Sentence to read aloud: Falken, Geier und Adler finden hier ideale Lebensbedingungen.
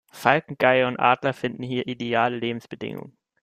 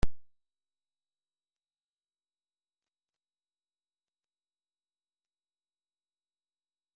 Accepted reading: first